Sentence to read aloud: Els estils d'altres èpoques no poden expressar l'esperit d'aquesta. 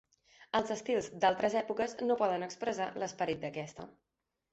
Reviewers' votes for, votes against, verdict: 3, 1, accepted